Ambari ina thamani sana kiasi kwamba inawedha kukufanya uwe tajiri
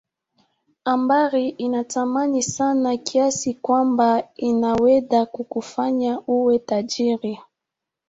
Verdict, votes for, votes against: accepted, 2, 0